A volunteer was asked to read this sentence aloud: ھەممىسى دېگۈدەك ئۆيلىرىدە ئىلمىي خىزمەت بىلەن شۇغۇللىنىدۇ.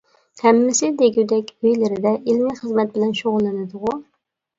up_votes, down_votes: 0, 2